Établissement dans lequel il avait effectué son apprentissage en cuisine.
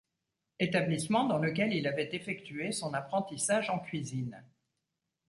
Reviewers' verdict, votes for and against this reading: accepted, 2, 0